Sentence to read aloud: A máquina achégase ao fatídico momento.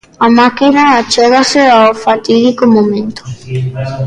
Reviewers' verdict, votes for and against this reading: rejected, 0, 2